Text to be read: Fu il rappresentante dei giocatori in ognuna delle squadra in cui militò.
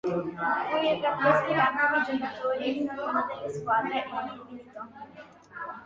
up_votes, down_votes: 0, 2